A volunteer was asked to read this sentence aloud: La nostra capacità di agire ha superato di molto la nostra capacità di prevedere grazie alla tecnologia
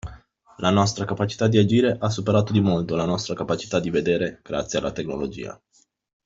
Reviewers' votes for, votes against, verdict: 1, 2, rejected